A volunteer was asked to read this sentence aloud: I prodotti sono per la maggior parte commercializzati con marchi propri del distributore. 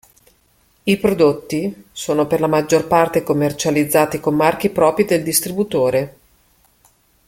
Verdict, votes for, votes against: accepted, 2, 0